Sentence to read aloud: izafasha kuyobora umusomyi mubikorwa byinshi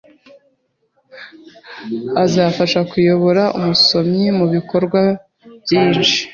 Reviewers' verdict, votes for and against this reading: rejected, 1, 2